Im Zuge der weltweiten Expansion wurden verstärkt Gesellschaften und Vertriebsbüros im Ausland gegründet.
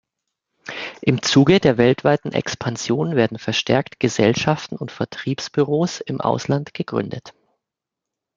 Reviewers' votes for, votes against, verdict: 1, 2, rejected